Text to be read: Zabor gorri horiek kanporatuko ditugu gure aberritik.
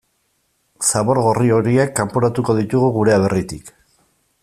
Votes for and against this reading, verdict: 2, 0, accepted